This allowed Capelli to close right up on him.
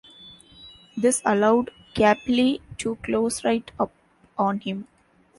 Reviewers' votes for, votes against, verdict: 2, 0, accepted